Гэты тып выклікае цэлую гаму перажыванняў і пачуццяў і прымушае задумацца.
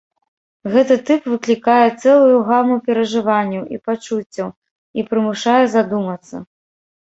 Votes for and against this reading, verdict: 2, 0, accepted